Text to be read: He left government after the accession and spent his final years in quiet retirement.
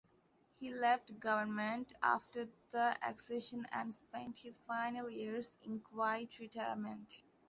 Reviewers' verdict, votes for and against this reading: rejected, 1, 2